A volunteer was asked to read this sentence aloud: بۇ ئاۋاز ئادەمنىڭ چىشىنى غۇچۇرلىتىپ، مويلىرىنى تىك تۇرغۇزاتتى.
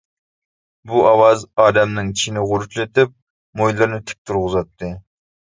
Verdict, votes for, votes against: rejected, 1, 2